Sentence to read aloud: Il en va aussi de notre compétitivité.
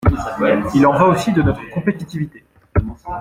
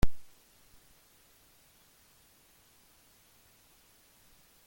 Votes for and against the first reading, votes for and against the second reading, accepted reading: 2, 0, 0, 2, first